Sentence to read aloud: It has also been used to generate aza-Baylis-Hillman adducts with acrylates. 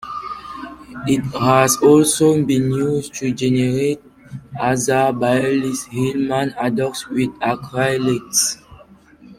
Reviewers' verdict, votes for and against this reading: rejected, 0, 2